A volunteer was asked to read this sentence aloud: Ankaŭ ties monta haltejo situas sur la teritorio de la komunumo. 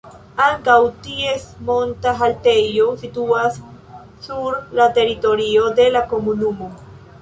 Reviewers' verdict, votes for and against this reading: accepted, 2, 0